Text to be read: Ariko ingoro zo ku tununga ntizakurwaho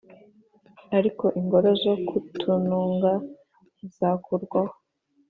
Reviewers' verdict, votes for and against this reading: accepted, 3, 1